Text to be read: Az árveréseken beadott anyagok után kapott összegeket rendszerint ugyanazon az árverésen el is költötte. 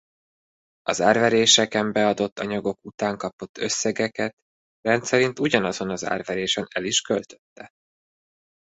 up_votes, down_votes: 2, 0